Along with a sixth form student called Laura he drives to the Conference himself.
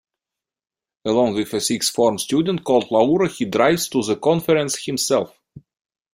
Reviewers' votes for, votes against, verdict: 2, 0, accepted